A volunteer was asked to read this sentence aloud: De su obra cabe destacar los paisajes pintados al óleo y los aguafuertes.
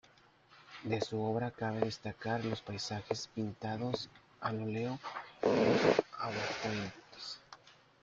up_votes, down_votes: 1, 2